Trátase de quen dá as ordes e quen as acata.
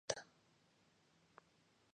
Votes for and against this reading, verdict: 0, 2, rejected